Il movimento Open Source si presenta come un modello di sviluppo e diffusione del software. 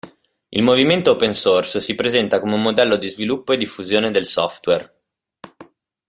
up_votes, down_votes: 2, 0